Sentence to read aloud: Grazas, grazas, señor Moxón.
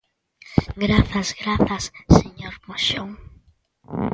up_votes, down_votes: 2, 0